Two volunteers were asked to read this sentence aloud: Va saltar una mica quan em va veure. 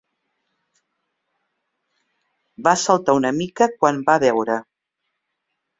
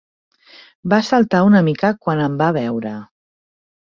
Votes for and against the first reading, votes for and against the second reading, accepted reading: 0, 2, 3, 1, second